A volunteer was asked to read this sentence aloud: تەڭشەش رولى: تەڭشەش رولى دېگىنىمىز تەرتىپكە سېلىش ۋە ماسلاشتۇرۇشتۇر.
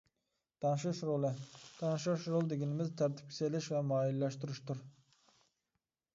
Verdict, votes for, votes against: rejected, 1, 2